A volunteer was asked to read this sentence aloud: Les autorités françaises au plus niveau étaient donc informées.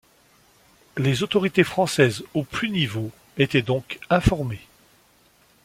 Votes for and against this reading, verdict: 2, 0, accepted